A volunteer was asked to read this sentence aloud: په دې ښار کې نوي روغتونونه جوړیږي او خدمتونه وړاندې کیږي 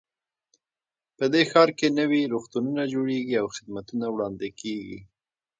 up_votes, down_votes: 1, 2